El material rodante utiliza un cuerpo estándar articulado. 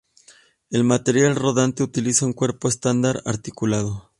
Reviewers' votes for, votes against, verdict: 2, 0, accepted